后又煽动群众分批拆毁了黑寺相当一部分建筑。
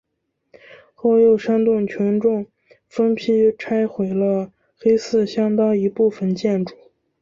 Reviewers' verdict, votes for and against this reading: accepted, 2, 0